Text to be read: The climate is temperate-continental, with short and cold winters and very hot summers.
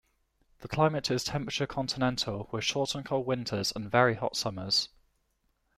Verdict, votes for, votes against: rejected, 1, 2